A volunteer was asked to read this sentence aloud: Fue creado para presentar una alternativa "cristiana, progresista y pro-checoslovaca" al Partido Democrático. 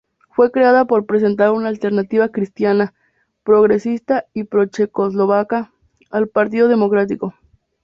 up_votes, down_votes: 2, 0